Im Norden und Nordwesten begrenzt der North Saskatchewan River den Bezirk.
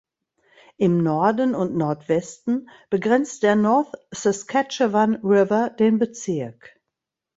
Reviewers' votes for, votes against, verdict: 2, 0, accepted